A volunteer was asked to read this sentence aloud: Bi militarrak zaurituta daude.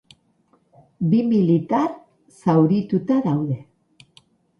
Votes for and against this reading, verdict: 0, 4, rejected